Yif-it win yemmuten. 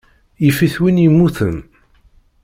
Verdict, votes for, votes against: accepted, 2, 0